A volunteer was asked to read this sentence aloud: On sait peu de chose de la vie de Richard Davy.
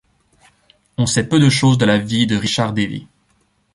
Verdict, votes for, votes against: accepted, 2, 0